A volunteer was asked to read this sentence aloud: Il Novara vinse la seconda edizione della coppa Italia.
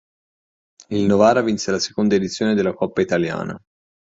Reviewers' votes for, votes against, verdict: 0, 3, rejected